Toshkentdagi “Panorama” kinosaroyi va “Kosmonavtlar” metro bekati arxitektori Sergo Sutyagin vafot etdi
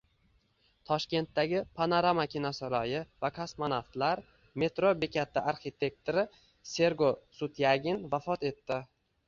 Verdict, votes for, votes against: accepted, 2, 0